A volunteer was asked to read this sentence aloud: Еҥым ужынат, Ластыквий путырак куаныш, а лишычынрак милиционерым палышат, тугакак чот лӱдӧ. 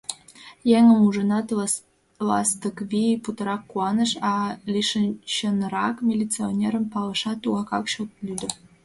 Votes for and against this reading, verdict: 0, 6, rejected